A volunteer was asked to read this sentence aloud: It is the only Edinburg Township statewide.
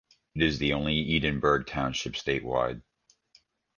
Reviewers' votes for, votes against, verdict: 1, 2, rejected